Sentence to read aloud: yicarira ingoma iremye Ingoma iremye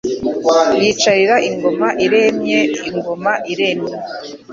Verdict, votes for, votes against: accepted, 2, 0